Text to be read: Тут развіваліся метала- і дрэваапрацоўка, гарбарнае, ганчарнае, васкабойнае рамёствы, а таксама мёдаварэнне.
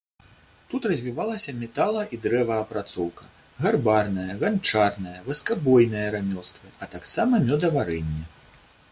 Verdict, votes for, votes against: accepted, 2, 0